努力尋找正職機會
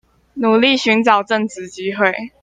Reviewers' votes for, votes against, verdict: 2, 0, accepted